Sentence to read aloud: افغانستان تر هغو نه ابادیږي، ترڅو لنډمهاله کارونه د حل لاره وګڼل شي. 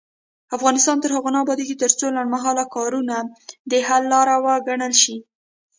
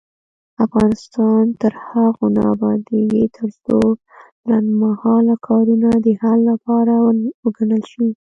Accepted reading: first